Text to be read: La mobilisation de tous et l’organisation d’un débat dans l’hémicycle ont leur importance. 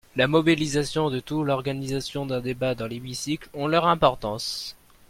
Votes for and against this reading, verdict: 1, 2, rejected